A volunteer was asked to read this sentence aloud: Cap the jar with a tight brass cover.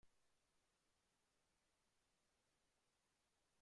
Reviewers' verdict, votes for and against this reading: rejected, 0, 2